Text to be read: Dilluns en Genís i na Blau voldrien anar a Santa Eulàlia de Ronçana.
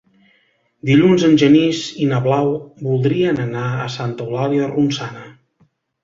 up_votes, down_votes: 0, 2